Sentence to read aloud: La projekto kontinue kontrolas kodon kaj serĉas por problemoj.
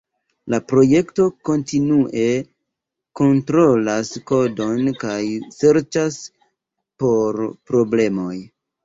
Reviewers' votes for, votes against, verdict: 2, 0, accepted